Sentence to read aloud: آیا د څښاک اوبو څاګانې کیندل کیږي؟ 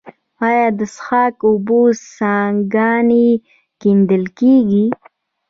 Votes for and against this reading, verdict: 2, 0, accepted